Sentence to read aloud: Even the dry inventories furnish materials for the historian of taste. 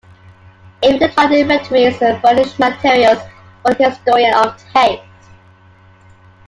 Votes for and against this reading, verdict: 1, 2, rejected